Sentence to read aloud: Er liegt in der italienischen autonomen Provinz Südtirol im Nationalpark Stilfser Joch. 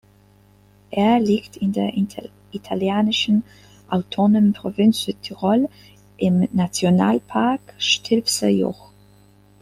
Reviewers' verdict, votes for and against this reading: rejected, 0, 2